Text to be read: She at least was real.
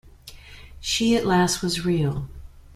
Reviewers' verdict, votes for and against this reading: rejected, 1, 2